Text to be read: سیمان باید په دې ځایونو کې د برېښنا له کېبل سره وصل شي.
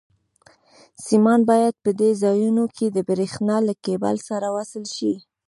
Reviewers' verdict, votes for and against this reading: rejected, 1, 2